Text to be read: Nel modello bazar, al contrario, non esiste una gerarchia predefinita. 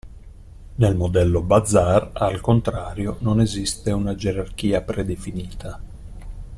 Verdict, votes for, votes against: accepted, 2, 0